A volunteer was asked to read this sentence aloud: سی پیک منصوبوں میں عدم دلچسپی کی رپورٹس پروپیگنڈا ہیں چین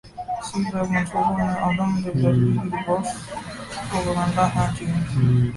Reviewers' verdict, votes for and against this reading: rejected, 0, 2